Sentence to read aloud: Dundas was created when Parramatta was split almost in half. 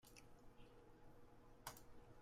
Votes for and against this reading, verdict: 0, 2, rejected